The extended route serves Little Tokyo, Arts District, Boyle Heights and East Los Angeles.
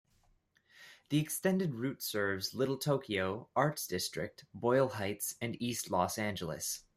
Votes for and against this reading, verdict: 2, 1, accepted